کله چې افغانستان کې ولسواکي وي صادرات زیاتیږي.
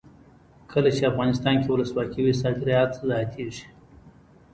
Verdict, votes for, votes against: rejected, 1, 2